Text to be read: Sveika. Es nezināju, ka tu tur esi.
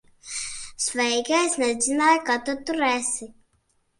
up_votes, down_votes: 2, 3